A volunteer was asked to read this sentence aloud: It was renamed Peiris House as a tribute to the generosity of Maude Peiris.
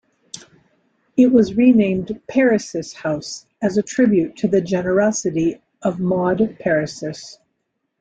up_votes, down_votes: 2, 0